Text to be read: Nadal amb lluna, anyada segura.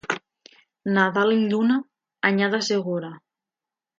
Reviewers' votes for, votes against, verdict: 2, 0, accepted